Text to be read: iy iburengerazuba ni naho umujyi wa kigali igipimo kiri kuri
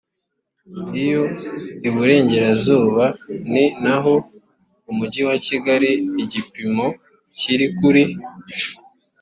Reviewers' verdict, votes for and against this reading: rejected, 1, 2